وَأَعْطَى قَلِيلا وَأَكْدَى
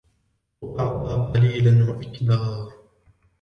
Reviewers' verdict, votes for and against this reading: rejected, 1, 2